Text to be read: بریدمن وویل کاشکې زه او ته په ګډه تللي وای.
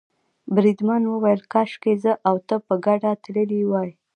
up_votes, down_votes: 2, 0